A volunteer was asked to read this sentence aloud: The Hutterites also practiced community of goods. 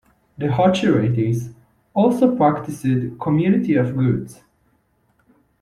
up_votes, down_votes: 2, 1